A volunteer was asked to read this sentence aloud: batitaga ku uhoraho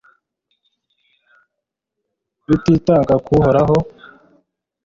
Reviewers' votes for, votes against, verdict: 1, 2, rejected